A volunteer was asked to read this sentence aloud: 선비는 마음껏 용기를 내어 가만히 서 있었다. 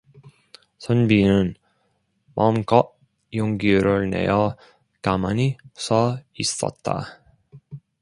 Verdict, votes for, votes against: accepted, 2, 0